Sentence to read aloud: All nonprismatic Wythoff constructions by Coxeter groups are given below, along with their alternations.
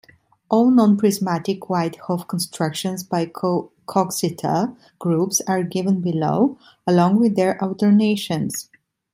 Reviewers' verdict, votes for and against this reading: rejected, 0, 2